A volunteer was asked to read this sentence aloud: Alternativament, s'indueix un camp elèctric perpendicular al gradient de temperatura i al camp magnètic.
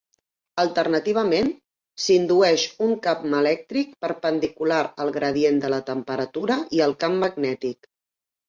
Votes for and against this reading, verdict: 1, 2, rejected